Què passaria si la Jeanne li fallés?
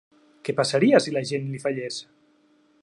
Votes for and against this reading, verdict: 2, 0, accepted